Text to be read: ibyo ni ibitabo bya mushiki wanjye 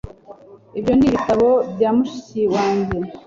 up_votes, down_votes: 1, 2